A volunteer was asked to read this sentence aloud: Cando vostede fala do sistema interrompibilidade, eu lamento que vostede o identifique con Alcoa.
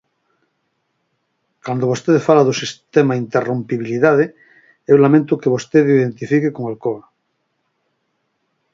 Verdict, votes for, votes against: rejected, 2, 4